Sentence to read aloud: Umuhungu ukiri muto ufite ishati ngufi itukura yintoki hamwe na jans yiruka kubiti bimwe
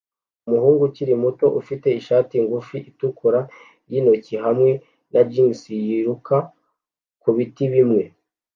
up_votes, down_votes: 2, 0